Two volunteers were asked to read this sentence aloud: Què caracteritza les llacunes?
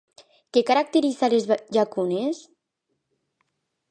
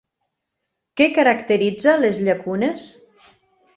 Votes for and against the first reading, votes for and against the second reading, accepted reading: 0, 2, 4, 0, second